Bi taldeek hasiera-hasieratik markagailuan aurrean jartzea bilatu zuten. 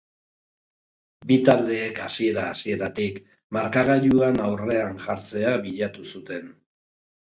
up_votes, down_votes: 2, 0